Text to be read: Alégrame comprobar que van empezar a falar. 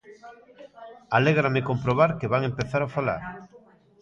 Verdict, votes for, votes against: accepted, 2, 1